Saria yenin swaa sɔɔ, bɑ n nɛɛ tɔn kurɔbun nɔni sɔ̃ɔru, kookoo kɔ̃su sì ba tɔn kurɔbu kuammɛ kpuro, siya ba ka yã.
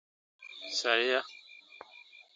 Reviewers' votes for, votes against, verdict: 0, 2, rejected